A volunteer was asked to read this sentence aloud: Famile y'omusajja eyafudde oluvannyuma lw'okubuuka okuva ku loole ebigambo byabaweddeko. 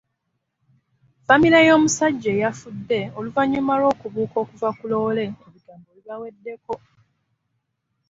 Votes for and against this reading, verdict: 1, 2, rejected